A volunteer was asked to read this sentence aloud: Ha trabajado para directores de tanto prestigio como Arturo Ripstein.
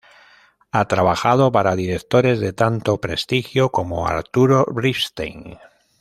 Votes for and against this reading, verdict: 1, 2, rejected